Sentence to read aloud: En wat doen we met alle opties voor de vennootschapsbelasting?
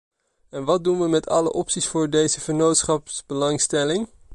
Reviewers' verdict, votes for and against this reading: rejected, 0, 2